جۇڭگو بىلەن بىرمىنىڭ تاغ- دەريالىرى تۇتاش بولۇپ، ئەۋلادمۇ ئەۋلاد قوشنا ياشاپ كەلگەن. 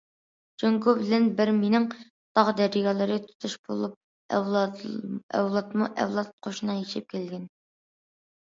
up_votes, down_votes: 0, 2